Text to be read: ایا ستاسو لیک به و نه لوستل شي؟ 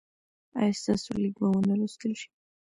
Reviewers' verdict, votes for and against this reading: rejected, 0, 2